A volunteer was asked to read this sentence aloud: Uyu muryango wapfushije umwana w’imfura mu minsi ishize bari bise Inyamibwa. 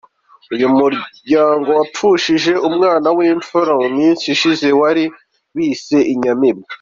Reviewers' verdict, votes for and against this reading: accepted, 2, 0